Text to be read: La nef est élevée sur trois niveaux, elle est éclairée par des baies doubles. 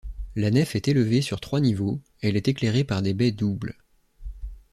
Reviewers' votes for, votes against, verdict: 2, 0, accepted